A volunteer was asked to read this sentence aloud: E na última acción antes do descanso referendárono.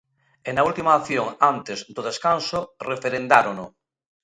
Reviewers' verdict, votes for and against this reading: accepted, 2, 0